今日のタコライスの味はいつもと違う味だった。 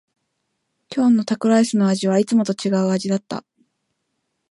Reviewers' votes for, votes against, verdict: 2, 0, accepted